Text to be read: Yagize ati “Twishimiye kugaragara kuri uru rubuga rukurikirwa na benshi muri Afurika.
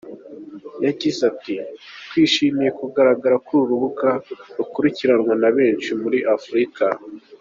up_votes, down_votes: 2, 1